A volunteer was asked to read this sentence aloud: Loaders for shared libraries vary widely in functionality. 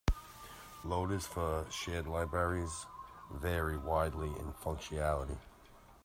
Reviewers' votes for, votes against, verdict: 1, 2, rejected